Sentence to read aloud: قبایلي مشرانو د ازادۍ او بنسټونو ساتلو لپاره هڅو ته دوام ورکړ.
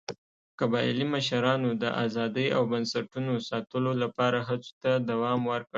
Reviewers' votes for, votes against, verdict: 2, 0, accepted